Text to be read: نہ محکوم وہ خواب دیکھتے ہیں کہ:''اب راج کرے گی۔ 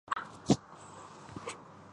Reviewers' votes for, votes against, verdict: 0, 2, rejected